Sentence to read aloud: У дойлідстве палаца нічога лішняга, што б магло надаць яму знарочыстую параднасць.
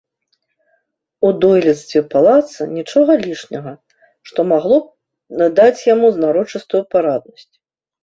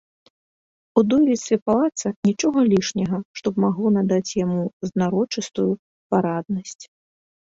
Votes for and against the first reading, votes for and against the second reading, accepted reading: 1, 2, 2, 0, second